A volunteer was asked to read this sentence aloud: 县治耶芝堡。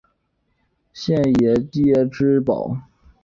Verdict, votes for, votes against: rejected, 3, 5